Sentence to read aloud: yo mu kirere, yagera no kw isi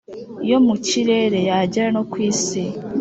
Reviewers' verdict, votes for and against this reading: accepted, 2, 0